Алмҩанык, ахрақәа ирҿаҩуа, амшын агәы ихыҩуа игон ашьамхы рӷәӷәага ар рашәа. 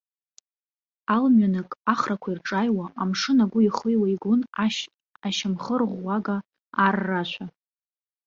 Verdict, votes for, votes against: rejected, 0, 2